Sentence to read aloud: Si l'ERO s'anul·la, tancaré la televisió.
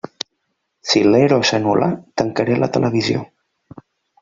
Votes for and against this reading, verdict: 2, 0, accepted